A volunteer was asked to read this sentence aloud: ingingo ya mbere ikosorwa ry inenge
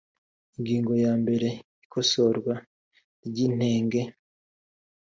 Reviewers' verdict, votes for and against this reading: accepted, 3, 0